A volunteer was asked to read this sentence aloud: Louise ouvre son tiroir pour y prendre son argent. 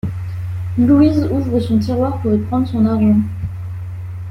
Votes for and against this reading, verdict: 2, 0, accepted